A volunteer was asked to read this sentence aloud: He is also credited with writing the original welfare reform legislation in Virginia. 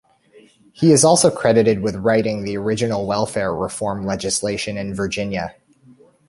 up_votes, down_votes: 2, 0